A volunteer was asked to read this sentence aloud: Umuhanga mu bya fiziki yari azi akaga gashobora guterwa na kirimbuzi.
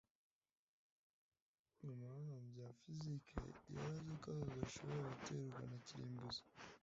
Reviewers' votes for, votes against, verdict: 1, 2, rejected